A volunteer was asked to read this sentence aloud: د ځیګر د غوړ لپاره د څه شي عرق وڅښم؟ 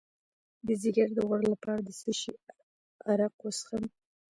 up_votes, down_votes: 1, 2